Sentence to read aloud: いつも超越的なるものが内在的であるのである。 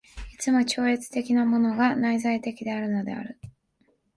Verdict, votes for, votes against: rejected, 1, 2